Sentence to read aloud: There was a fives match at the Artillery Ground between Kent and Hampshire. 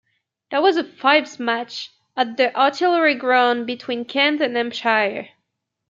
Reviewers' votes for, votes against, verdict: 2, 1, accepted